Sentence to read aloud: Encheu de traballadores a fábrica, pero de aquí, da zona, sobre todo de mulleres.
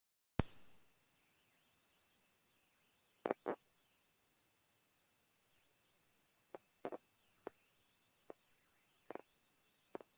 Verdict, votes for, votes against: rejected, 0, 4